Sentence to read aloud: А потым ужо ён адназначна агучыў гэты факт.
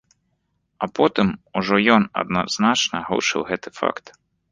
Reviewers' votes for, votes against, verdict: 2, 0, accepted